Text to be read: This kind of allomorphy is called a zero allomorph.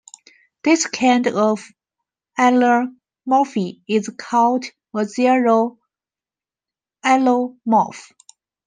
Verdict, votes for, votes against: rejected, 1, 2